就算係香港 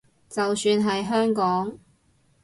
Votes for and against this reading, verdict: 2, 2, rejected